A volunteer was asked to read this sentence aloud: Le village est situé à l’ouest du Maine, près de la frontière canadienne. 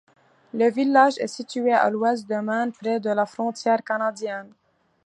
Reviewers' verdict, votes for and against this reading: accepted, 2, 1